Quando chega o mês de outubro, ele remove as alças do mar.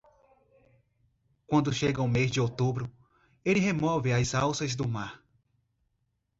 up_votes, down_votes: 2, 0